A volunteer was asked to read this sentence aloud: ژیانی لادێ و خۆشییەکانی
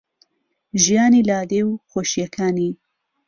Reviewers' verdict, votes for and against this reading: accepted, 2, 0